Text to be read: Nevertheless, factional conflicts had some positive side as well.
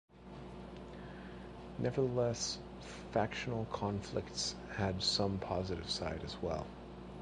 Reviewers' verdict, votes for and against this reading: rejected, 2, 3